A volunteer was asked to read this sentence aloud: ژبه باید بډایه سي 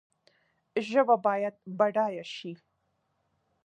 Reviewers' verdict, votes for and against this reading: accepted, 2, 0